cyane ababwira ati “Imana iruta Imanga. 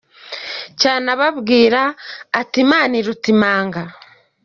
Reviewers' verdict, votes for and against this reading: accepted, 2, 0